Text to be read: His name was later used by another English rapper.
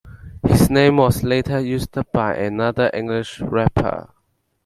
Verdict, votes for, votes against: accepted, 2, 1